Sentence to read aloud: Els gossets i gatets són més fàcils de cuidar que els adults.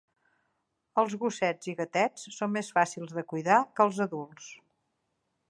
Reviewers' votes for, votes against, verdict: 2, 0, accepted